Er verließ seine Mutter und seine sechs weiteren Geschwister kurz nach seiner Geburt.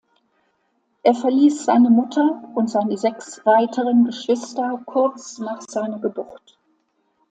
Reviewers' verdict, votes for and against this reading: accepted, 2, 0